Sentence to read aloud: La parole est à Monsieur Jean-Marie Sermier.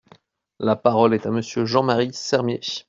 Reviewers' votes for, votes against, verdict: 2, 0, accepted